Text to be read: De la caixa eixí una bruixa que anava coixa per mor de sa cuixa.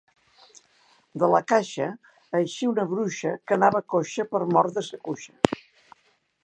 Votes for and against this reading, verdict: 2, 0, accepted